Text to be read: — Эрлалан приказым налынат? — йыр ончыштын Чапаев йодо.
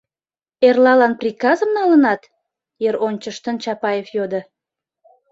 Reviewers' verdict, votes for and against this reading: accepted, 2, 0